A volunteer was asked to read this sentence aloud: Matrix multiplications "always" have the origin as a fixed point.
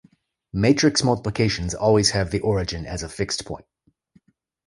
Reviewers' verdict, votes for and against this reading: accepted, 2, 0